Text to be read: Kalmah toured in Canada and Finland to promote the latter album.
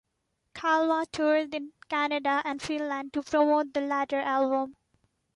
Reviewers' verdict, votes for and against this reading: accepted, 2, 1